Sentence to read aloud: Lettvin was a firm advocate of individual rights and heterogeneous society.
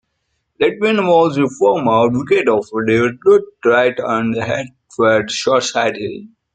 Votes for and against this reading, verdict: 0, 2, rejected